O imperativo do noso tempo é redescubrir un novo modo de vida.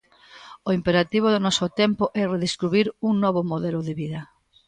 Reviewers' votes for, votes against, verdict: 1, 2, rejected